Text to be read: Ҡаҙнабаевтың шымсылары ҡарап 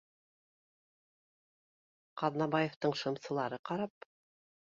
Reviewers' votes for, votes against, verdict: 2, 0, accepted